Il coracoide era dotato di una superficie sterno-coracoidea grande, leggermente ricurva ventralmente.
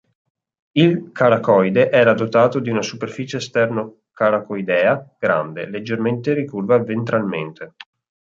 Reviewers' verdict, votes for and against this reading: rejected, 0, 2